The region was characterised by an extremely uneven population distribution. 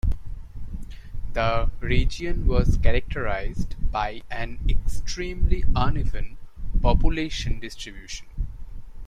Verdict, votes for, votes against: accepted, 2, 0